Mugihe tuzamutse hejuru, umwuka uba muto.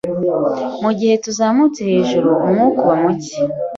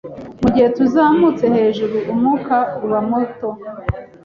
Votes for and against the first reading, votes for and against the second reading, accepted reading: 0, 2, 2, 0, second